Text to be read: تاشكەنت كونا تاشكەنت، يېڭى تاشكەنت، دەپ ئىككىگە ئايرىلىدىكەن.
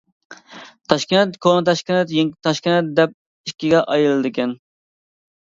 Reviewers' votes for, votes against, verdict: 0, 2, rejected